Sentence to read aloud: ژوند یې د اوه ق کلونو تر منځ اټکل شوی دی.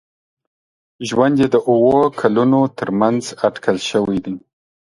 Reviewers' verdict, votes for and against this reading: rejected, 1, 2